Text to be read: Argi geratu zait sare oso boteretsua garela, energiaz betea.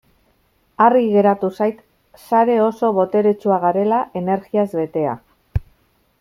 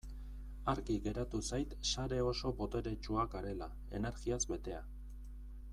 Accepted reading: second